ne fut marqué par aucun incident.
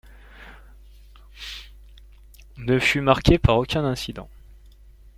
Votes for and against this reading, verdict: 2, 0, accepted